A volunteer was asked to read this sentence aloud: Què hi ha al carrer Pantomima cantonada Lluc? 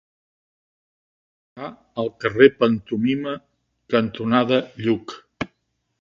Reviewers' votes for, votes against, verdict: 0, 2, rejected